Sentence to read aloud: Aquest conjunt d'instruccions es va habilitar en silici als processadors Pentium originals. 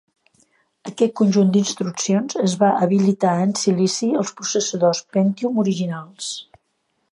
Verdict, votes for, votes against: accepted, 2, 0